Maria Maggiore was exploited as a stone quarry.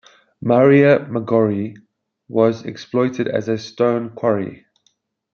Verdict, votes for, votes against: accepted, 4, 0